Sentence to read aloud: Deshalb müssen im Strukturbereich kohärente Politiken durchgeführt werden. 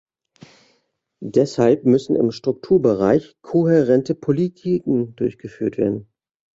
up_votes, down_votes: 1, 2